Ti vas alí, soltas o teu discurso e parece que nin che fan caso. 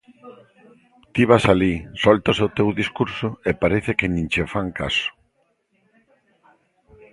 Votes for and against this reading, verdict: 1, 2, rejected